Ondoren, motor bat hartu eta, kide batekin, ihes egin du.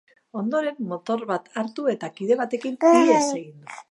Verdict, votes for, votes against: rejected, 0, 5